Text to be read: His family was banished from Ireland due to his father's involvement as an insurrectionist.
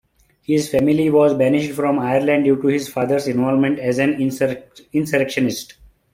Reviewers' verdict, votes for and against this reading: rejected, 2, 3